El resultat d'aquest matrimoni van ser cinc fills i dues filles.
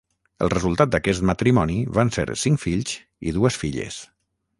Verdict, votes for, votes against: rejected, 3, 3